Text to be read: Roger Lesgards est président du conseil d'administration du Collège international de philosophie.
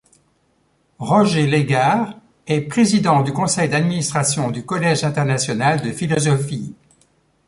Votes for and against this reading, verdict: 2, 0, accepted